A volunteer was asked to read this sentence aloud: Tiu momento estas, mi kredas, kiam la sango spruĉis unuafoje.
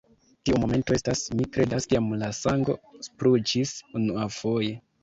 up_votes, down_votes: 2, 1